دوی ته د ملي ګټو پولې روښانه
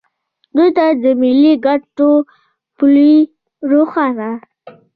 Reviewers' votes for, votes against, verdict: 2, 0, accepted